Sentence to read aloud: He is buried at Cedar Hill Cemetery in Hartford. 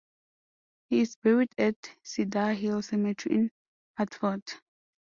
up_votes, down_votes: 0, 2